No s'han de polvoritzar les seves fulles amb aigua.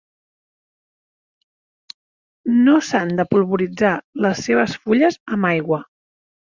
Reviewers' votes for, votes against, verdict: 2, 0, accepted